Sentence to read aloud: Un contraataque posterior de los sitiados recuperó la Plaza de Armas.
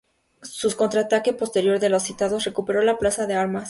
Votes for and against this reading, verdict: 0, 2, rejected